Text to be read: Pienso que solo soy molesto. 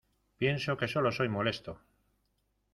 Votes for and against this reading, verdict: 2, 0, accepted